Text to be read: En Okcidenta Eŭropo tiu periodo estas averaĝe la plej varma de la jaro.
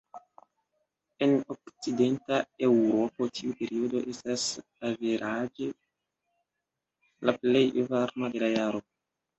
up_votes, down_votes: 2, 1